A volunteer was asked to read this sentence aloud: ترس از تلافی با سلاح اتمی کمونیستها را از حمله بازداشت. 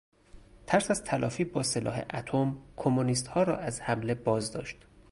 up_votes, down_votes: 0, 2